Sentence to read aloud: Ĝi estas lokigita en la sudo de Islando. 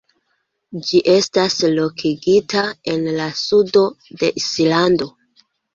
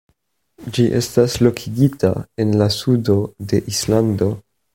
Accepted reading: second